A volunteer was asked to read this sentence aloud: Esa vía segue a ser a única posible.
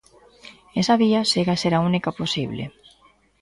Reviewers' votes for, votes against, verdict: 2, 0, accepted